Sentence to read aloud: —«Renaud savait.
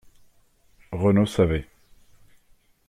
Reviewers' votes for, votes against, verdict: 2, 1, accepted